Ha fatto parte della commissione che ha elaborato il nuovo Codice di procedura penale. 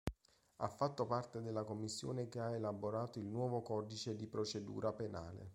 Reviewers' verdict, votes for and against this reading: accepted, 2, 0